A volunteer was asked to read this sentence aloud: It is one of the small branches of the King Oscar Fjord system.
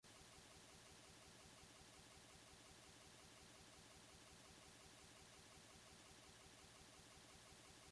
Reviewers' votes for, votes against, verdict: 0, 2, rejected